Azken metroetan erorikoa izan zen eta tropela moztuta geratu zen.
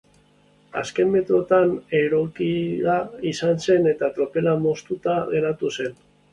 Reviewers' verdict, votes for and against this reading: rejected, 0, 2